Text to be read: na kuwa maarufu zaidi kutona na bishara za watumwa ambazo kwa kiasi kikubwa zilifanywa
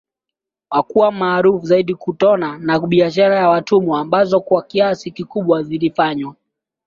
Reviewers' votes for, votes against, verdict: 2, 0, accepted